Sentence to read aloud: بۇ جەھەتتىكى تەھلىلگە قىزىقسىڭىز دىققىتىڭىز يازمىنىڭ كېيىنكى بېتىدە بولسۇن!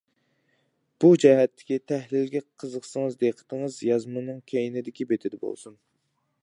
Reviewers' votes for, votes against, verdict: 0, 2, rejected